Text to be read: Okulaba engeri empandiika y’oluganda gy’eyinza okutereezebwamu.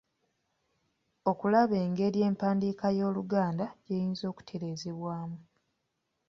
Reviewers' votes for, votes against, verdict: 1, 2, rejected